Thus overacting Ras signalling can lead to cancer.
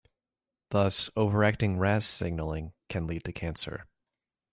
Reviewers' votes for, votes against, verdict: 2, 0, accepted